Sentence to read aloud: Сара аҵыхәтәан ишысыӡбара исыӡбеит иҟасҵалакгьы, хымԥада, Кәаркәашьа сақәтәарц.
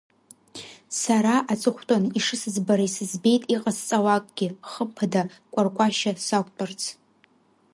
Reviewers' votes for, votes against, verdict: 2, 1, accepted